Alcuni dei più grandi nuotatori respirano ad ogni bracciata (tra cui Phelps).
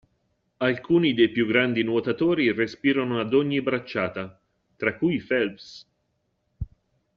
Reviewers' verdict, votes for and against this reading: accepted, 2, 0